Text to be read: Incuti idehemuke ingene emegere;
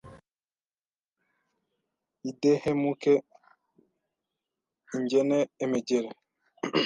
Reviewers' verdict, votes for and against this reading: rejected, 1, 2